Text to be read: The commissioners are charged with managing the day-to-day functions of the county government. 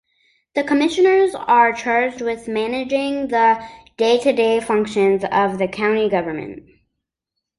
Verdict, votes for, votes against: accepted, 2, 0